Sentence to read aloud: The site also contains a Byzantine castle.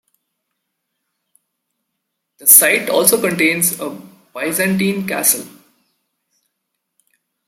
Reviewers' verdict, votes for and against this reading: accepted, 2, 0